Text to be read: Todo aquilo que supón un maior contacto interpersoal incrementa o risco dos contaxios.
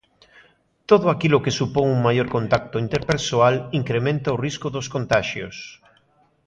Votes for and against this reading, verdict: 2, 0, accepted